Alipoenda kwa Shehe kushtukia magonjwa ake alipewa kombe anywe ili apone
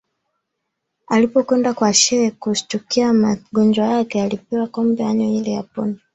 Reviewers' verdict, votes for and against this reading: accepted, 4, 3